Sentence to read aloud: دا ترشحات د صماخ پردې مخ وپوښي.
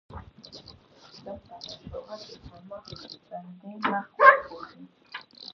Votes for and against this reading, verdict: 0, 2, rejected